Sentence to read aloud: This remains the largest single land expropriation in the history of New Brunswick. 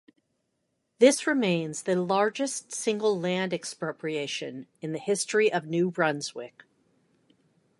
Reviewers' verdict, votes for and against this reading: accepted, 2, 0